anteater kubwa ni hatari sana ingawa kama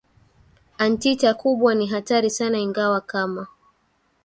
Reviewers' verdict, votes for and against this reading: accepted, 2, 0